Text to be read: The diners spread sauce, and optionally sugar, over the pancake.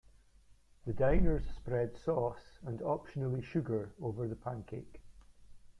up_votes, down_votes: 1, 2